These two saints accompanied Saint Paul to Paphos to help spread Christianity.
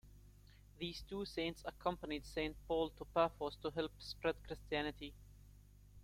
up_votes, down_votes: 2, 1